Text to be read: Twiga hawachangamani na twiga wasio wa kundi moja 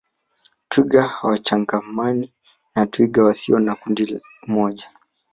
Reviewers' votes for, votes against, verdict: 1, 2, rejected